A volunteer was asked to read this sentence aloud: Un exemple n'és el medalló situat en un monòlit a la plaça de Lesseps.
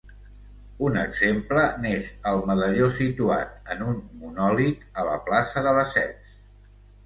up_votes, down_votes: 2, 0